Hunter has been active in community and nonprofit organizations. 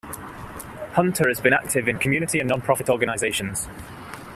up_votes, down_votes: 2, 1